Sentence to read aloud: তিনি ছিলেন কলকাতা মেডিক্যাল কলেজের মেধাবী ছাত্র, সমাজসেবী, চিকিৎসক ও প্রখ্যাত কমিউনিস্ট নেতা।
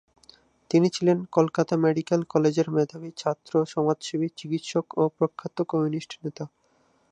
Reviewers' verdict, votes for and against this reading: accepted, 2, 0